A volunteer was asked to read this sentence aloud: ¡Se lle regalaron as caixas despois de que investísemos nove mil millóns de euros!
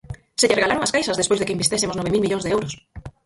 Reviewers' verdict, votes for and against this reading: rejected, 0, 4